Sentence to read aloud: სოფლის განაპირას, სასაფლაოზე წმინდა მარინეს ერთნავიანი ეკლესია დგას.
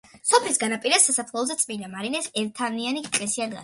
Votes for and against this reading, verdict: 0, 2, rejected